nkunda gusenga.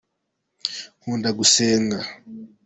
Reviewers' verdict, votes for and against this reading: accepted, 2, 1